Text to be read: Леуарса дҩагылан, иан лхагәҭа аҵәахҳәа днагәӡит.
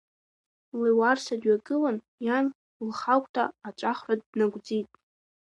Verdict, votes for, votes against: rejected, 1, 3